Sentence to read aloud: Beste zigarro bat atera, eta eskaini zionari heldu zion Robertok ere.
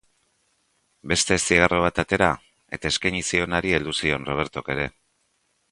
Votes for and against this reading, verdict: 0, 2, rejected